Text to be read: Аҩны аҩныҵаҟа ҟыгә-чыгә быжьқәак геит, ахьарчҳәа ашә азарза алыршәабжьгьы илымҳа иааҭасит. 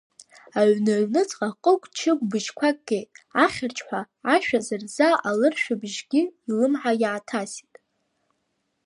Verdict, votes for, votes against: rejected, 1, 2